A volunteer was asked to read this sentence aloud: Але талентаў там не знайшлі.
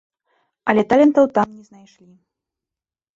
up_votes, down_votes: 0, 2